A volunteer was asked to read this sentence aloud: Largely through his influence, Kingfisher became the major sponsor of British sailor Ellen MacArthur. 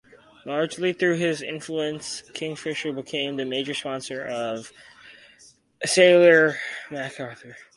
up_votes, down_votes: 2, 4